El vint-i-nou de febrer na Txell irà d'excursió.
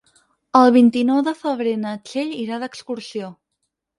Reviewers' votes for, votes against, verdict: 8, 0, accepted